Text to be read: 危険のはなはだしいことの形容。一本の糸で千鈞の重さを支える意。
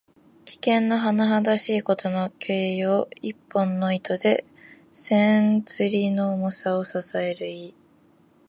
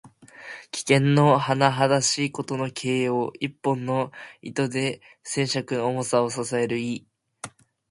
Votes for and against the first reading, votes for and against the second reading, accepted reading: 1, 2, 2, 1, second